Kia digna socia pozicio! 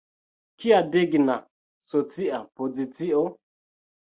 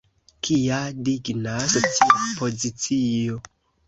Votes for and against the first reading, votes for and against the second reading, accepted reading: 2, 0, 0, 2, first